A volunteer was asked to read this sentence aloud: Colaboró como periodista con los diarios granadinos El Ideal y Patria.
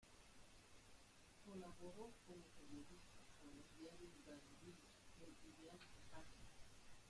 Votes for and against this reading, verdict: 0, 2, rejected